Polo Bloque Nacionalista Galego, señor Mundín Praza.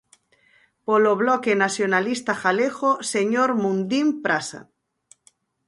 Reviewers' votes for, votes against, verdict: 4, 0, accepted